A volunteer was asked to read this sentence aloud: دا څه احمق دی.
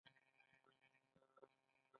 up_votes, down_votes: 2, 0